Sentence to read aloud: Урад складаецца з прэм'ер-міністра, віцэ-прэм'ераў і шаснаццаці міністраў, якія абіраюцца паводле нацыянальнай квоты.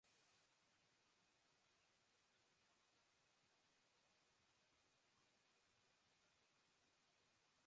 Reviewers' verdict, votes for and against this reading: rejected, 0, 2